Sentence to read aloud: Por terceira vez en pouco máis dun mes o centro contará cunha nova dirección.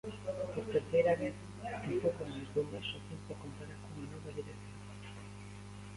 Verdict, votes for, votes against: rejected, 1, 2